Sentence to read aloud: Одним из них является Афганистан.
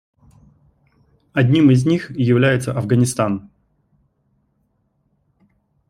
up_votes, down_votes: 2, 0